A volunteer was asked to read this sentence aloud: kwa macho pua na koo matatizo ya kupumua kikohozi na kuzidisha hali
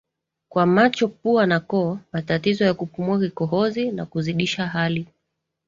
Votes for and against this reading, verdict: 2, 0, accepted